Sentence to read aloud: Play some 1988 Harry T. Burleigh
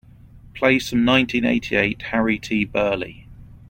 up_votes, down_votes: 0, 2